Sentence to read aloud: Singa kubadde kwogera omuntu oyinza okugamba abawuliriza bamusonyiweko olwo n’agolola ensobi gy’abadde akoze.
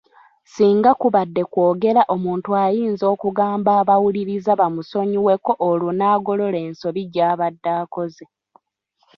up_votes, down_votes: 1, 2